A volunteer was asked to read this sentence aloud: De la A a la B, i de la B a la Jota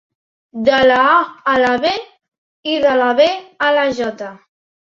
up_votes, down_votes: 3, 0